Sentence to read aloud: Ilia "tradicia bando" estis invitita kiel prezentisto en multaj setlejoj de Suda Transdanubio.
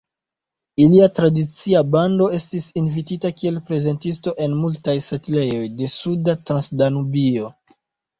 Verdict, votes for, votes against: accepted, 2, 0